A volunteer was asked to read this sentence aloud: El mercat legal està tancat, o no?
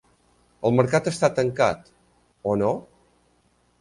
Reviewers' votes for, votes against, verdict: 0, 2, rejected